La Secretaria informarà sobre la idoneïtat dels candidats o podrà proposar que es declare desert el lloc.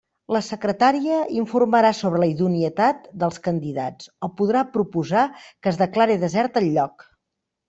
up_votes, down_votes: 0, 2